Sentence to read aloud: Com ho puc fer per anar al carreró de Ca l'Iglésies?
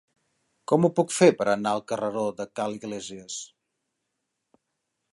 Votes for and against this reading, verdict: 3, 0, accepted